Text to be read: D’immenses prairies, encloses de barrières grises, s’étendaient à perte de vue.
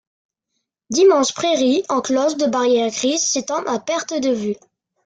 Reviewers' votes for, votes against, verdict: 0, 2, rejected